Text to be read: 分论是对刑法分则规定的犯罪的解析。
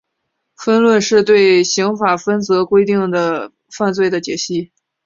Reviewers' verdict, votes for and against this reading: accepted, 6, 1